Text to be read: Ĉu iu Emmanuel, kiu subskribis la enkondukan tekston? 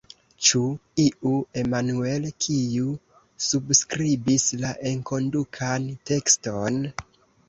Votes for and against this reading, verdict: 2, 0, accepted